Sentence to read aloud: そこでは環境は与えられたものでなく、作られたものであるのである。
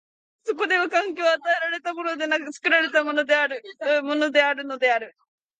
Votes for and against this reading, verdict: 0, 2, rejected